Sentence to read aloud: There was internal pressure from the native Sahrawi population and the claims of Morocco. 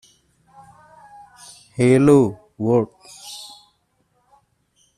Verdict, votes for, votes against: rejected, 0, 2